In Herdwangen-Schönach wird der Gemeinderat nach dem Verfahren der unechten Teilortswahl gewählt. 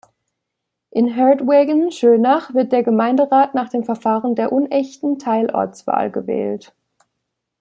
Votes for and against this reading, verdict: 0, 2, rejected